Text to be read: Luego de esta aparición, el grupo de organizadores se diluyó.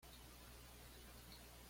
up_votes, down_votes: 2, 1